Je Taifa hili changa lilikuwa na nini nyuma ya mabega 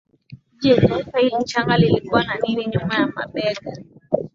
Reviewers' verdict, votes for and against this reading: accepted, 2, 1